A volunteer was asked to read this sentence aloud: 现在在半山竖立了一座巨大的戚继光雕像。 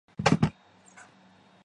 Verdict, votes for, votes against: accepted, 2, 1